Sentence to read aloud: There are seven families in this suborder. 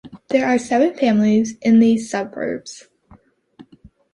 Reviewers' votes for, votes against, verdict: 0, 2, rejected